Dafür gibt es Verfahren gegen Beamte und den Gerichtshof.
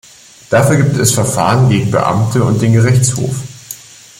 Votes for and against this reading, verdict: 2, 0, accepted